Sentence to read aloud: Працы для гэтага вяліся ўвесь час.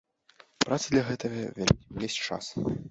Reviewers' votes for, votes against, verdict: 1, 2, rejected